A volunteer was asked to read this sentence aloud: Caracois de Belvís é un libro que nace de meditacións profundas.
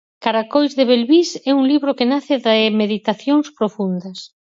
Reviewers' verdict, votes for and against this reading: rejected, 2, 4